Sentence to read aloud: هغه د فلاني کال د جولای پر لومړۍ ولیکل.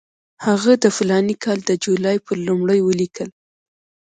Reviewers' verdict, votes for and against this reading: accepted, 2, 0